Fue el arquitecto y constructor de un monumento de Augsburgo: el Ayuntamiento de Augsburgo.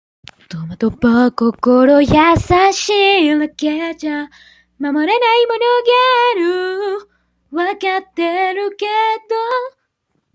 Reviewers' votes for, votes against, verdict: 0, 2, rejected